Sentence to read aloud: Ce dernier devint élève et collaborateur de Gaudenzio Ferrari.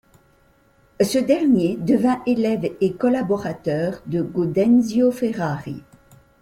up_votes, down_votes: 2, 0